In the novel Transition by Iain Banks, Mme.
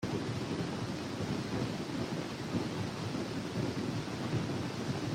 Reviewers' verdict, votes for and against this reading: rejected, 0, 2